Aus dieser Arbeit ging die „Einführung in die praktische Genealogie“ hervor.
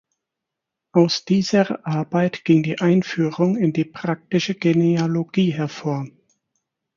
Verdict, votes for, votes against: accepted, 4, 0